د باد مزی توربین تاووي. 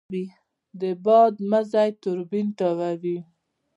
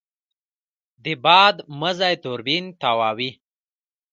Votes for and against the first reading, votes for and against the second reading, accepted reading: 0, 2, 2, 1, second